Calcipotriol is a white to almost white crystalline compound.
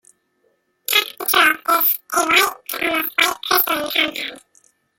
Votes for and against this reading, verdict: 0, 2, rejected